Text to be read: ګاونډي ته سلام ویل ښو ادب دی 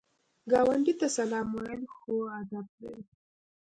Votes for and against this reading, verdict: 2, 0, accepted